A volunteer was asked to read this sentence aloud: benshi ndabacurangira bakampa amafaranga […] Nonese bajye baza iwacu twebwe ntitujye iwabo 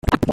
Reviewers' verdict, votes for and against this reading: rejected, 1, 2